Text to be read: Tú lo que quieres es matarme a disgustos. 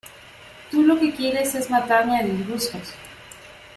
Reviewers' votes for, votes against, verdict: 2, 0, accepted